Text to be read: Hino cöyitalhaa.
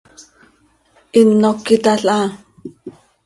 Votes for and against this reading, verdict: 2, 0, accepted